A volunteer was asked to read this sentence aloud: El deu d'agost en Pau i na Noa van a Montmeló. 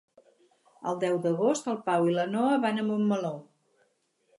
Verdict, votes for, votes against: rejected, 2, 4